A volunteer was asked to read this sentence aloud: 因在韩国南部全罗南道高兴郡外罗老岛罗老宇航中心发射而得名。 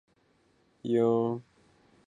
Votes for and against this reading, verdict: 1, 3, rejected